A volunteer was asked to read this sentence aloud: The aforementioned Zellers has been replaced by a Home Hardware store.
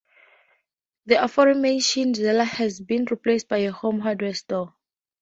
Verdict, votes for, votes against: accepted, 2, 0